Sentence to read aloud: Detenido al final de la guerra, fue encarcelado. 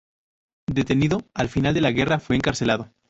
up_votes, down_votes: 0, 2